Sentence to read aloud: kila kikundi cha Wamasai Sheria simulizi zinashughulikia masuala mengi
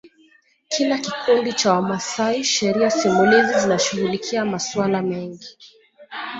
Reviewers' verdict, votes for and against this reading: accepted, 2, 1